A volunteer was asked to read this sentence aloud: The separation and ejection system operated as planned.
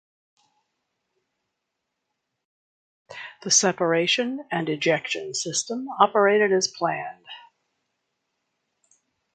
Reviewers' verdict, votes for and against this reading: accepted, 2, 0